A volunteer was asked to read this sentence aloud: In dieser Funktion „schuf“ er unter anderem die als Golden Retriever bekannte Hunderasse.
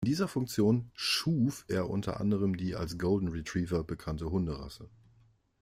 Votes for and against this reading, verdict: 2, 1, accepted